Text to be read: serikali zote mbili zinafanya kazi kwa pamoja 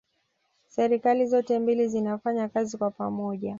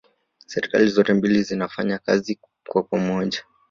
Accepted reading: first